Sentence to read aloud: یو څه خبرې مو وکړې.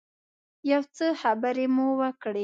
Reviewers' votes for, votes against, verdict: 2, 0, accepted